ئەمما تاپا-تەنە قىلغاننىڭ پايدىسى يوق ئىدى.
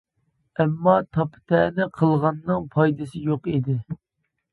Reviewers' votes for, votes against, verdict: 2, 0, accepted